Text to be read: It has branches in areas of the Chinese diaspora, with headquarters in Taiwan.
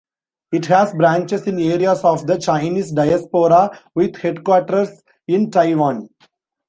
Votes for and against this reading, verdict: 2, 0, accepted